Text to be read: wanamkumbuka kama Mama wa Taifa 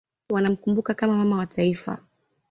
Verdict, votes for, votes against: accepted, 2, 0